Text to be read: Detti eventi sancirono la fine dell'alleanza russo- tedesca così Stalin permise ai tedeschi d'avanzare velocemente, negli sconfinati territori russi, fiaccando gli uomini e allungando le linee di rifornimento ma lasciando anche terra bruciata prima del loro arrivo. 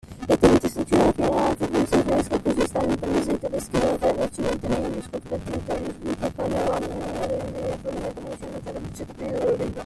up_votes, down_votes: 0, 2